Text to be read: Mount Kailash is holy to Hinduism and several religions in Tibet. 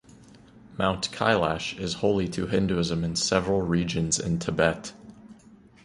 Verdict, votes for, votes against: rejected, 0, 2